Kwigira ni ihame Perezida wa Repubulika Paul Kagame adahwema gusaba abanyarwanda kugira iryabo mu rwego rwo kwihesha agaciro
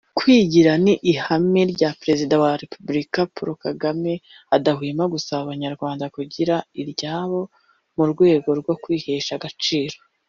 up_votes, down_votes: 0, 2